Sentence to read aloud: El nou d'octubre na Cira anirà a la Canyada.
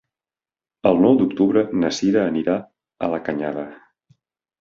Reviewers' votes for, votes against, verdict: 4, 0, accepted